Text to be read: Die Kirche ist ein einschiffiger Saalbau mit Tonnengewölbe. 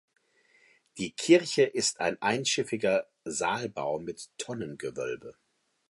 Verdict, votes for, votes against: accepted, 2, 0